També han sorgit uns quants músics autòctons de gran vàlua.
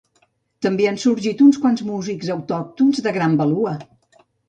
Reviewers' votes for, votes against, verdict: 0, 2, rejected